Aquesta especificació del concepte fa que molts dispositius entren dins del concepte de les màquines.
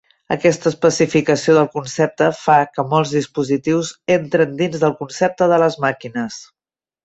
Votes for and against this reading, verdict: 3, 0, accepted